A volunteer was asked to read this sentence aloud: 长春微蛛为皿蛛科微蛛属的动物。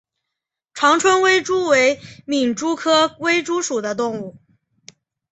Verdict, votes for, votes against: accepted, 2, 0